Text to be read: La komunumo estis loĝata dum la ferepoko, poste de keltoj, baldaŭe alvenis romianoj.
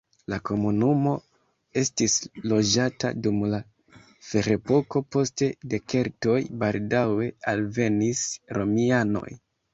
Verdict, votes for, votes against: accepted, 2, 1